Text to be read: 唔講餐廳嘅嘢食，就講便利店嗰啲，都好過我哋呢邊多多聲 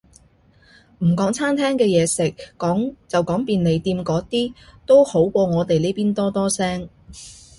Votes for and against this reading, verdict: 0, 2, rejected